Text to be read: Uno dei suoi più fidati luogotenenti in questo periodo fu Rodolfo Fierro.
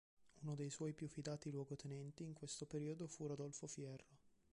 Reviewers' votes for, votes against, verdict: 2, 0, accepted